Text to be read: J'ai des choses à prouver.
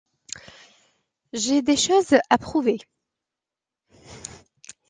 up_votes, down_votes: 2, 0